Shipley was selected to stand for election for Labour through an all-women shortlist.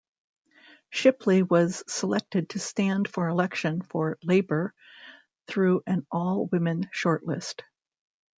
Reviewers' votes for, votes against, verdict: 2, 0, accepted